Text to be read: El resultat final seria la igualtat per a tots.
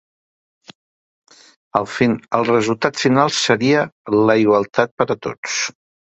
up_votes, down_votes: 0, 2